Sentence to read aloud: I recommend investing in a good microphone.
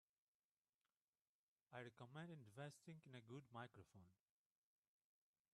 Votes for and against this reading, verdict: 0, 4, rejected